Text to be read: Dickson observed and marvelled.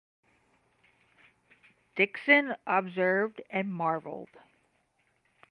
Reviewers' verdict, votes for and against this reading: accepted, 10, 0